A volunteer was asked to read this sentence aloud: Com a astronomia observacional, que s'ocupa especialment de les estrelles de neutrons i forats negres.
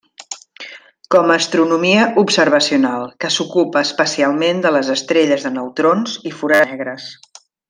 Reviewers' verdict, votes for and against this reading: rejected, 0, 2